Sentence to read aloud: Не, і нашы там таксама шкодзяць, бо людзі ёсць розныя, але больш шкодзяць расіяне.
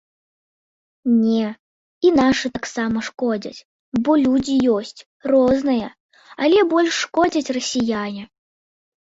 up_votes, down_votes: 0, 2